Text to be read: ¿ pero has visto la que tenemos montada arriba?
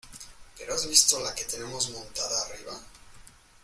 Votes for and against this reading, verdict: 2, 1, accepted